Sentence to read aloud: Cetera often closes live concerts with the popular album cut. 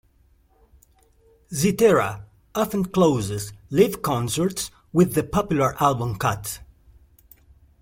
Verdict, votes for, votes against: rejected, 0, 2